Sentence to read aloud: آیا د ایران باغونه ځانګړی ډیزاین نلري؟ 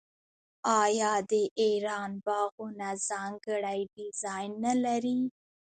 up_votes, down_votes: 2, 1